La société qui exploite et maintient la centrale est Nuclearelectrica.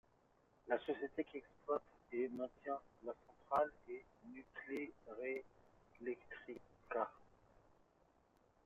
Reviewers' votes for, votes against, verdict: 2, 1, accepted